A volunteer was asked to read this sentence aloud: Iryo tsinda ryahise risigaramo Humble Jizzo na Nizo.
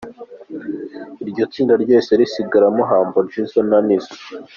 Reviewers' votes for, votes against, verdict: 2, 1, accepted